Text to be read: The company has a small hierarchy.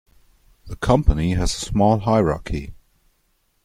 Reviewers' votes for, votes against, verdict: 2, 0, accepted